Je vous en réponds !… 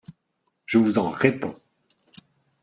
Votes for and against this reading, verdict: 2, 0, accepted